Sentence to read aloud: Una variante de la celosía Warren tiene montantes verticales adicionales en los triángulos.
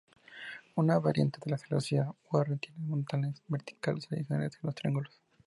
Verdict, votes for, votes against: accepted, 2, 0